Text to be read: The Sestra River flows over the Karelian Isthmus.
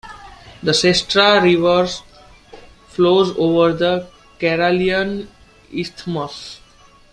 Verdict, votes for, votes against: accepted, 2, 1